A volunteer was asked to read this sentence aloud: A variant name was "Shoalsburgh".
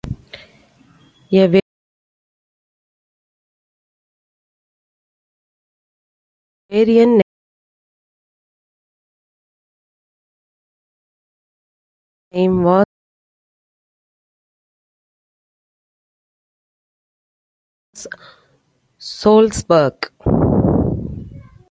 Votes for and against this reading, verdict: 0, 2, rejected